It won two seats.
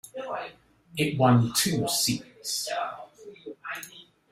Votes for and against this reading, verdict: 0, 2, rejected